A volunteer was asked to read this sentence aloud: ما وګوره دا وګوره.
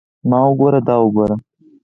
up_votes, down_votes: 4, 2